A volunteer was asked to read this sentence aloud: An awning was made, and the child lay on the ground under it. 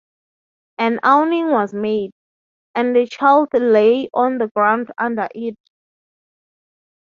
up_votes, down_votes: 3, 0